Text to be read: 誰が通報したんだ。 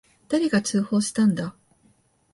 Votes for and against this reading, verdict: 2, 0, accepted